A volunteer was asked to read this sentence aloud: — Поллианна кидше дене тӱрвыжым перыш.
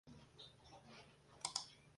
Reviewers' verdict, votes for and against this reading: rejected, 0, 2